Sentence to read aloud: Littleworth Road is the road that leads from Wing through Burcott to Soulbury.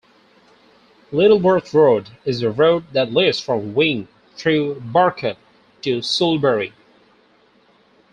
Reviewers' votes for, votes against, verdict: 2, 0, accepted